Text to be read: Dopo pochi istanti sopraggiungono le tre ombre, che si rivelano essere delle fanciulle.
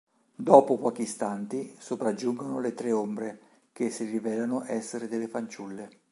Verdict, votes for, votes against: accepted, 2, 0